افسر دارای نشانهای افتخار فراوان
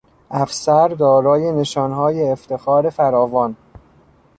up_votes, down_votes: 0, 2